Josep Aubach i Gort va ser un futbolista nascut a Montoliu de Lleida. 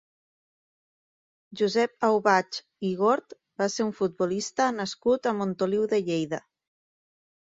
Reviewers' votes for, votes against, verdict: 3, 1, accepted